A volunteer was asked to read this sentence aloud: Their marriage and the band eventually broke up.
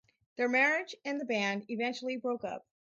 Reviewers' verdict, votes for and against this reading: accepted, 4, 0